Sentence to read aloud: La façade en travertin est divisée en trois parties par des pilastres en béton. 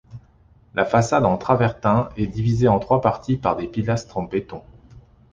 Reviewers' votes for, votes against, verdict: 2, 1, accepted